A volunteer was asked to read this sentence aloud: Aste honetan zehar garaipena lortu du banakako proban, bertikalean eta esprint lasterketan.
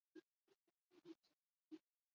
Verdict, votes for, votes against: rejected, 0, 8